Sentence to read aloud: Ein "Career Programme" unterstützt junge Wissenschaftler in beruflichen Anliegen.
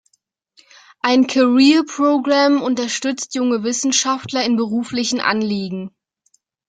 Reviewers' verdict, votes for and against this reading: accepted, 2, 0